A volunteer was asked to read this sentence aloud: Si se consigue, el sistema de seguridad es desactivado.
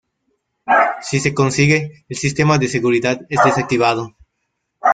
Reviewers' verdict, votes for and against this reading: rejected, 0, 2